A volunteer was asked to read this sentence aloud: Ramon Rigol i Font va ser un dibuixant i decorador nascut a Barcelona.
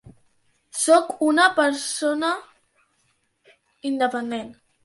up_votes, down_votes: 0, 2